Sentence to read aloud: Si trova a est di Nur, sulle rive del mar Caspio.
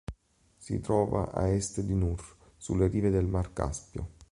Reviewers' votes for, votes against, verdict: 2, 0, accepted